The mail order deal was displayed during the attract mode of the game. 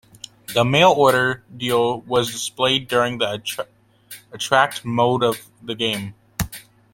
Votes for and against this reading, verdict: 1, 2, rejected